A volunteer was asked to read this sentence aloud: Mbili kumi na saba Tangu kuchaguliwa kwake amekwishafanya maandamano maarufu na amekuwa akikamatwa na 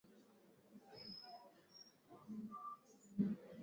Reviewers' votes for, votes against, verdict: 0, 2, rejected